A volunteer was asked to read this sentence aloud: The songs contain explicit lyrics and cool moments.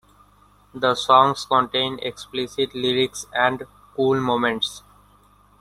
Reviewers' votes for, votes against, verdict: 1, 2, rejected